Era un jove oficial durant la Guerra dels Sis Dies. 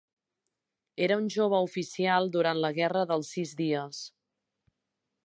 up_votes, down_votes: 3, 0